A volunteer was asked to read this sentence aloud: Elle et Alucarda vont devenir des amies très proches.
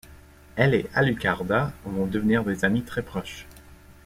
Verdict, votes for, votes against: accepted, 2, 0